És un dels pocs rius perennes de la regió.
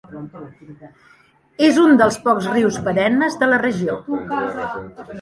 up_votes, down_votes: 2, 0